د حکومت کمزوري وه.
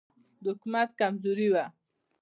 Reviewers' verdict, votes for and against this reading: rejected, 1, 2